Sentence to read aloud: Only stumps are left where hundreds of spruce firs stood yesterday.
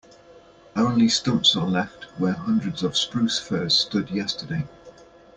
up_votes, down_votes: 2, 0